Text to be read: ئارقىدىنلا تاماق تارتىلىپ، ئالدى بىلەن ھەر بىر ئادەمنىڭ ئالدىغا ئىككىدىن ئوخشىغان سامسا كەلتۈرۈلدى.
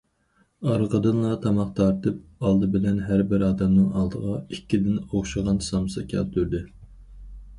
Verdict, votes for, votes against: rejected, 0, 4